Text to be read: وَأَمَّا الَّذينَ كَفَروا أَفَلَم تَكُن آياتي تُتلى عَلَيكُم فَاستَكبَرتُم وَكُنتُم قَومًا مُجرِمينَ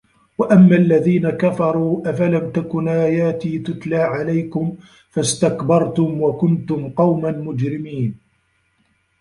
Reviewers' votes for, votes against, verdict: 0, 2, rejected